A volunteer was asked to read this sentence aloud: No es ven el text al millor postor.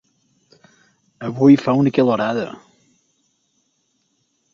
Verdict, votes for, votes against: rejected, 1, 3